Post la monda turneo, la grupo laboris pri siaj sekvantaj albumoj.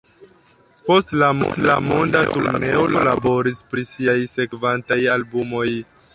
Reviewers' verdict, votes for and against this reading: rejected, 1, 2